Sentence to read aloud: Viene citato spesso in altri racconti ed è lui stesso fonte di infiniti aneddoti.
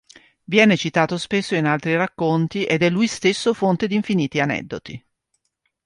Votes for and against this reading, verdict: 2, 0, accepted